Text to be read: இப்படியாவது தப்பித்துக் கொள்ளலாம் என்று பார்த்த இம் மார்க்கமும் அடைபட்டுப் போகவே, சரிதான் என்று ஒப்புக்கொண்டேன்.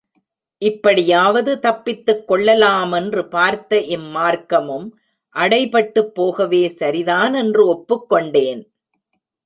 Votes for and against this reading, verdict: 2, 0, accepted